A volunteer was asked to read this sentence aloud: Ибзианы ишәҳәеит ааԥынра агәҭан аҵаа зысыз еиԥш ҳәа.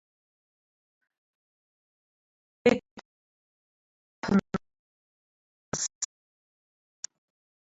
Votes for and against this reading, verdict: 0, 2, rejected